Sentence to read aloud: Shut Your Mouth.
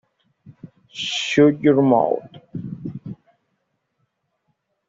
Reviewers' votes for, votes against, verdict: 1, 2, rejected